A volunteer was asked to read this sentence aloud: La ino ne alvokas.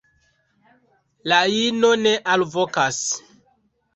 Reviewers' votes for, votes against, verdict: 2, 0, accepted